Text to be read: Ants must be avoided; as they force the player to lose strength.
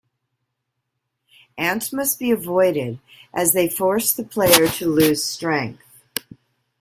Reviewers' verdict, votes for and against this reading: accepted, 2, 0